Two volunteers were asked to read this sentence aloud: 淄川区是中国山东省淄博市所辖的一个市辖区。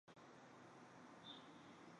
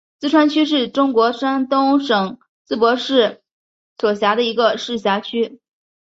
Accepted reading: second